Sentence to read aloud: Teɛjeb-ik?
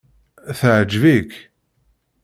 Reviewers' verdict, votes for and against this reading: accepted, 2, 0